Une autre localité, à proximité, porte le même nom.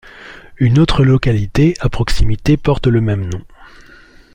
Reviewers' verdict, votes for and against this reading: accepted, 2, 0